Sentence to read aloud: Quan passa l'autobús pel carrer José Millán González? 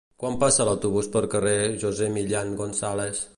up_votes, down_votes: 2, 1